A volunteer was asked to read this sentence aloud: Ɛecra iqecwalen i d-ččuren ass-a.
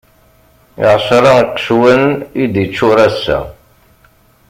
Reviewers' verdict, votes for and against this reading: rejected, 1, 2